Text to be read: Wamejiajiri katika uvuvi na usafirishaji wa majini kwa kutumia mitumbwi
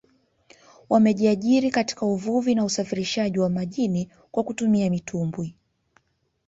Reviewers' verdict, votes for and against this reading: accepted, 3, 0